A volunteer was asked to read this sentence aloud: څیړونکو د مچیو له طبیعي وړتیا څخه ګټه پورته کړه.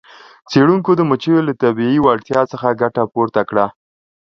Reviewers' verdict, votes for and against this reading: accepted, 2, 0